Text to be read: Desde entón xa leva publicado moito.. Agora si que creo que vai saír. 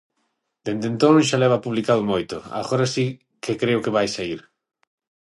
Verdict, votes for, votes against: rejected, 0, 6